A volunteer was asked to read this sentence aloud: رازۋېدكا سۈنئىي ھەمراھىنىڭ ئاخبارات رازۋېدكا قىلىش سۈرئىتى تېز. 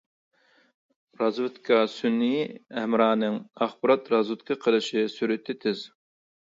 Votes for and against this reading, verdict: 0, 2, rejected